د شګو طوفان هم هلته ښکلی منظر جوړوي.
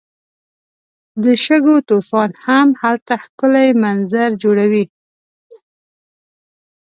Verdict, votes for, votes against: accepted, 2, 0